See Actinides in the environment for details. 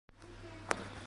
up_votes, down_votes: 0, 2